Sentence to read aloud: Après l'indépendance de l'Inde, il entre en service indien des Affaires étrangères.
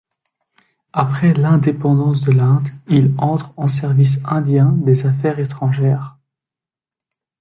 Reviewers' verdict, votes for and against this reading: accepted, 2, 0